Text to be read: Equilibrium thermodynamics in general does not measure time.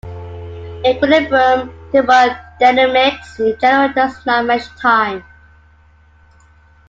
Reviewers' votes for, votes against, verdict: 0, 2, rejected